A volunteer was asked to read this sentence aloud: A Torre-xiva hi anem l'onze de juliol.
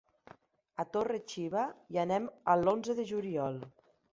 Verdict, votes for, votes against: rejected, 0, 2